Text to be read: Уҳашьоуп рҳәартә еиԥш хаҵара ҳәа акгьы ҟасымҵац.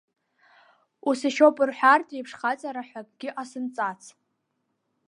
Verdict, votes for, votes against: rejected, 1, 2